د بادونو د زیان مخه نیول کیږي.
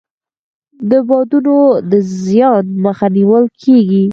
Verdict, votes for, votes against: accepted, 4, 0